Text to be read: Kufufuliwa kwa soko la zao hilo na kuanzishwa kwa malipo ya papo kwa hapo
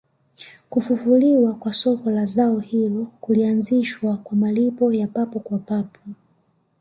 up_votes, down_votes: 2, 3